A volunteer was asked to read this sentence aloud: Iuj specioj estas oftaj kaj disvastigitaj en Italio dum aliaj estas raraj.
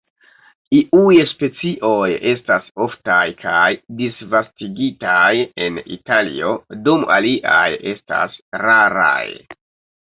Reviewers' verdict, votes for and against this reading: rejected, 1, 3